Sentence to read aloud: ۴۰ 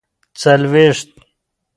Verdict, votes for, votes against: rejected, 0, 2